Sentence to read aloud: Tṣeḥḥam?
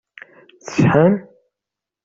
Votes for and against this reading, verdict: 1, 2, rejected